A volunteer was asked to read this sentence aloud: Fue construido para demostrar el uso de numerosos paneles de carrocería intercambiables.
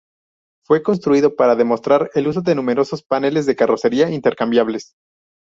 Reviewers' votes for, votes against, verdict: 2, 0, accepted